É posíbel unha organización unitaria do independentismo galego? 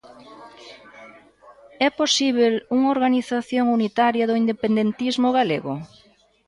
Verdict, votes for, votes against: rejected, 1, 2